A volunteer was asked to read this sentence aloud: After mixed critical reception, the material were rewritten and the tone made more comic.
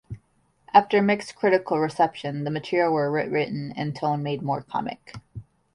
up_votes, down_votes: 1, 2